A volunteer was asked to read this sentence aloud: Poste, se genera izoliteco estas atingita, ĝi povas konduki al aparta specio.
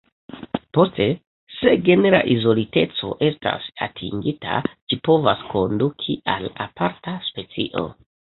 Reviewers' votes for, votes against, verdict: 2, 1, accepted